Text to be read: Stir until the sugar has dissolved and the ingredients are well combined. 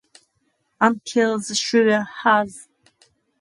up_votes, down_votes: 0, 2